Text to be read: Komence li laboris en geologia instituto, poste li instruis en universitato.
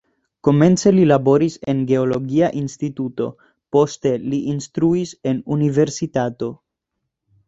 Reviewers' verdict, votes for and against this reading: accepted, 2, 0